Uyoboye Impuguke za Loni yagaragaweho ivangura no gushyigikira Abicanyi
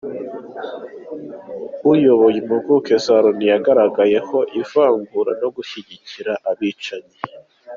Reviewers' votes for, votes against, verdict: 2, 0, accepted